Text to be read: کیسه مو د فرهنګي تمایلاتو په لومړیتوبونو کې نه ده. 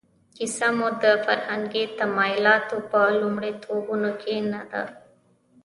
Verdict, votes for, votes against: rejected, 1, 2